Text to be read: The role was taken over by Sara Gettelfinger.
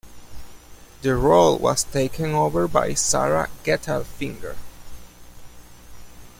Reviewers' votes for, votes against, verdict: 0, 2, rejected